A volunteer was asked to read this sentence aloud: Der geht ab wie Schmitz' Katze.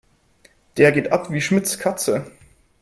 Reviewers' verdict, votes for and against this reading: accepted, 3, 0